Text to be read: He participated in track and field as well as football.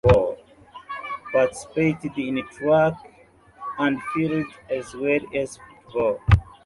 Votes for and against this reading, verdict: 0, 2, rejected